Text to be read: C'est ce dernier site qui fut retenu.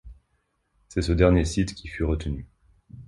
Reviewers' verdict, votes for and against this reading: accepted, 2, 0